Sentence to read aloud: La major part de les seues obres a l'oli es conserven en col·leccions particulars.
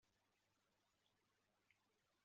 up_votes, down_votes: 0, 2